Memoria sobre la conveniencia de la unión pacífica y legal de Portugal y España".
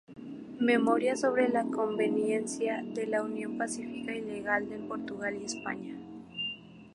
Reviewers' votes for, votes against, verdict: 2, 0, accepted